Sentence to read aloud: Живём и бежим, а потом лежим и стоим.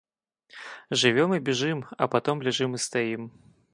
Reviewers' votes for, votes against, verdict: 0, 2, rejected